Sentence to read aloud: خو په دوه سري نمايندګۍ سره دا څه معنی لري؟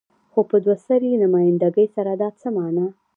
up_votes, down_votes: 1, 2